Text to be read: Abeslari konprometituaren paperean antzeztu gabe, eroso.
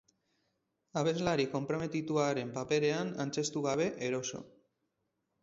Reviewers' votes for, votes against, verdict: 2, 2, rejected